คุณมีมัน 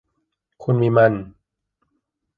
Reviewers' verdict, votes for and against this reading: accepted, 2, 0